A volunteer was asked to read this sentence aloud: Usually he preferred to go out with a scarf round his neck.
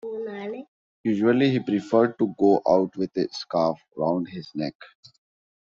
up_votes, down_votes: 2, 1